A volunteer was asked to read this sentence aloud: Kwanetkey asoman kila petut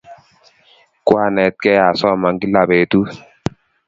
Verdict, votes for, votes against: accepted, 3, 0